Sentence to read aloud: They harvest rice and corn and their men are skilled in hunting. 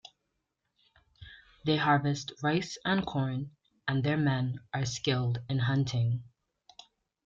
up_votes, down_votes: 2, 0